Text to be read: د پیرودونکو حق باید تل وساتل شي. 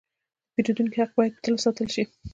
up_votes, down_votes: 2, 0